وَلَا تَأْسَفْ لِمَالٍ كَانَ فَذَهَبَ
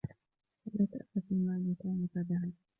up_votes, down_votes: 1, 2